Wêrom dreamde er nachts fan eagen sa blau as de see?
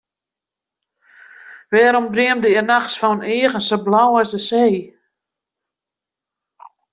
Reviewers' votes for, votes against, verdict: 1, 2, rejected